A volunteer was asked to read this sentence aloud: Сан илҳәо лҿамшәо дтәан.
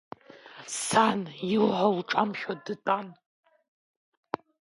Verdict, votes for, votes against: accepted, 2, 0